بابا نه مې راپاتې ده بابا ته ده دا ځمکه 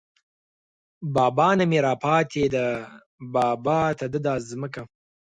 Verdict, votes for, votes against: accepted, 4, 0